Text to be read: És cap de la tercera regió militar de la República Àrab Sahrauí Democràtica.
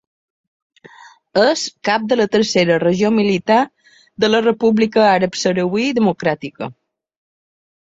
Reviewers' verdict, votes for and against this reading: accepted, 2, 0